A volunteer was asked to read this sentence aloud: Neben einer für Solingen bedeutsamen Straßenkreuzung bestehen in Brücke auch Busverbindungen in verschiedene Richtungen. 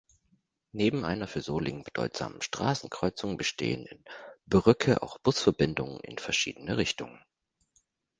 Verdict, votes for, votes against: accepted, 2, 0